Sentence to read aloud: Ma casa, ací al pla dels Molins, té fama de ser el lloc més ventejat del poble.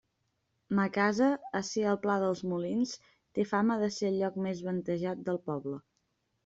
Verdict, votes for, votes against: accepted, 2, 0